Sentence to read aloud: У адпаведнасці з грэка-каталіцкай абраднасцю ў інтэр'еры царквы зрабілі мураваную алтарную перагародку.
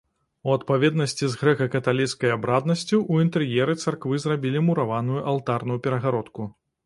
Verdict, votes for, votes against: accepted, 2, 0